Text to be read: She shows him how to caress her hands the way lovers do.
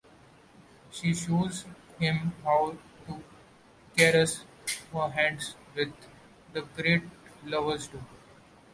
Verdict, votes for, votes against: rejected, 1, 2